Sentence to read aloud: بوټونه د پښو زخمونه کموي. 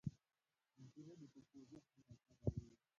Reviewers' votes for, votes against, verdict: 0, 2, rejected